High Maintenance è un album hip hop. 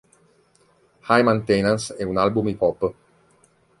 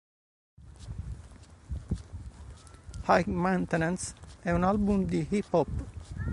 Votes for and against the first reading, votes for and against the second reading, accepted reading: 2, 1, 1, 3, first